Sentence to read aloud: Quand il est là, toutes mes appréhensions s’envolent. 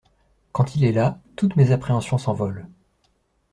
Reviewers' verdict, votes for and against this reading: accepted, 2, 0